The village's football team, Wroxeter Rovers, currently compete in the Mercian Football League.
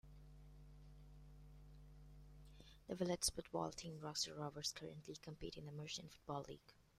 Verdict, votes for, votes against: rejected, 0, 2